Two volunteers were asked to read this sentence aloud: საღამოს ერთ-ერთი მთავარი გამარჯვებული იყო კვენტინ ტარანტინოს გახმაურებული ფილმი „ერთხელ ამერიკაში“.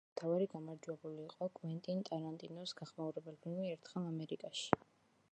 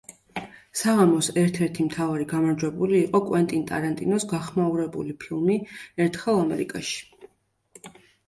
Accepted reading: second